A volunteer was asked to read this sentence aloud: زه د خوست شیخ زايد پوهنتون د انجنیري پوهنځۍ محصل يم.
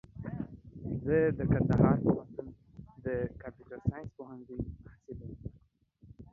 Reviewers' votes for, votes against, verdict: 0, 2, rejected